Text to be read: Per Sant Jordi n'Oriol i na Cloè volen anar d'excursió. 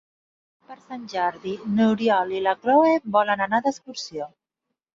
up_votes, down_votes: 0, 2